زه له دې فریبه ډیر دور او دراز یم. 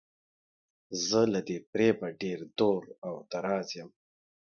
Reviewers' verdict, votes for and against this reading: accepted, 2, 0